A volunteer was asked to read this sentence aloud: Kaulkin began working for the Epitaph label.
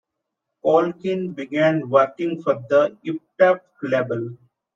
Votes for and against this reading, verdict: 0, 2, rejected